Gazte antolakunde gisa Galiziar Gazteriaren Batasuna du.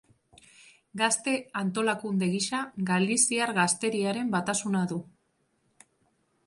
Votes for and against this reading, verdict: 2, 0, accepted